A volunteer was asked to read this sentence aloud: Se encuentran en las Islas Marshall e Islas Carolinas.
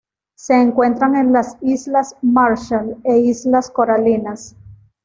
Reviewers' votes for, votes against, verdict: 1, 2, rejected